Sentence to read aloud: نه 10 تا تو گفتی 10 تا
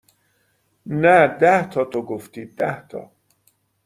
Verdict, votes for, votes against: rejected, 0, 2